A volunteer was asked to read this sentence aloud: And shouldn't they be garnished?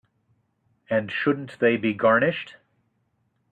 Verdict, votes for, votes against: accepted, 2, 0